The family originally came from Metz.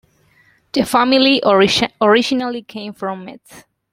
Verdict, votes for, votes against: rejected, 0, 2